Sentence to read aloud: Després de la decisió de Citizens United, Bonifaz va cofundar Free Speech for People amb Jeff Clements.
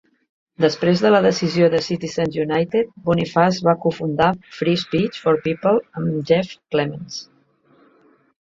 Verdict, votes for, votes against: accepted, 2, 0